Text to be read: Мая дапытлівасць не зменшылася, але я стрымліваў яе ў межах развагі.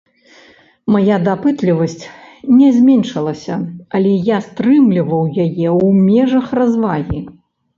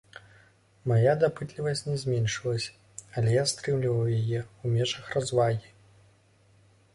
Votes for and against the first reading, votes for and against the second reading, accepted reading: 1, 2, 2, 0, second